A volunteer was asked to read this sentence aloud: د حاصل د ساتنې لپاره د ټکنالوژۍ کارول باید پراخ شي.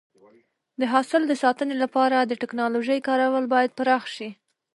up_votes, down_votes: 0, 2